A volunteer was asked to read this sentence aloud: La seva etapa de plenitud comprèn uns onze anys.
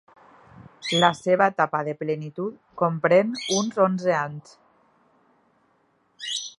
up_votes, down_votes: 0, 2